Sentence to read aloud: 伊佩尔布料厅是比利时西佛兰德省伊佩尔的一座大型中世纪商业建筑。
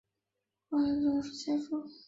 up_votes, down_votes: 0, 2